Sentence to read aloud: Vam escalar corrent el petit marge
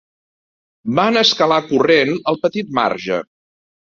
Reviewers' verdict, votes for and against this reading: accepted, 2, 1